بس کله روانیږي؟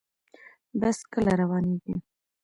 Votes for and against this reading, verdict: 1, 2, rejected